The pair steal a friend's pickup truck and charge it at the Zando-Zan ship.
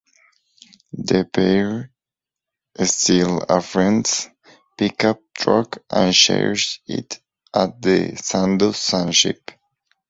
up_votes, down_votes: 0, 6